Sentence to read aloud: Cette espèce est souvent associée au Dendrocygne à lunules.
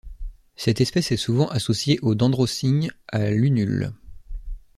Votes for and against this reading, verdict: 2, 1, accepted